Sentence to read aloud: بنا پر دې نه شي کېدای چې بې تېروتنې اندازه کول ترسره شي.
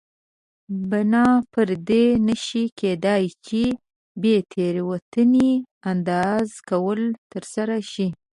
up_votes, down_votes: 2, 0